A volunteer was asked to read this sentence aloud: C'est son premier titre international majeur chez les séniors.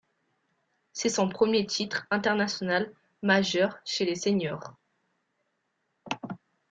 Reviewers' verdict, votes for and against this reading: accepted, 2, 0